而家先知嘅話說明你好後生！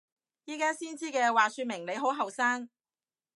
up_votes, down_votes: 0, 2